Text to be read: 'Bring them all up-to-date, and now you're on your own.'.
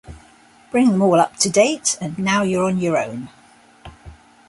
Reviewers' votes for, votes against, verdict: 4, 0, accepted